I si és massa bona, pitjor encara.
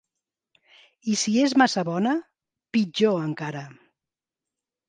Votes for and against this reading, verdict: 4, 0, accepted